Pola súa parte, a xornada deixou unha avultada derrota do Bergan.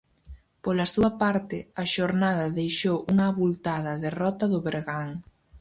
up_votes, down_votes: 4, 0